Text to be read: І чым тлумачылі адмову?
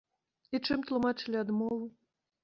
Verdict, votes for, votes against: accepted, 2, 0